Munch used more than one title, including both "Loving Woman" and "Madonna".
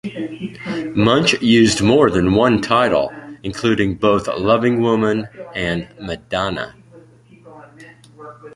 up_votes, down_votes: 2, 0